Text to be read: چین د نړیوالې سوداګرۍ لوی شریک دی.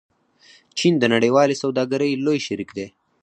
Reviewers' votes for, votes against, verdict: 2, 4, rejected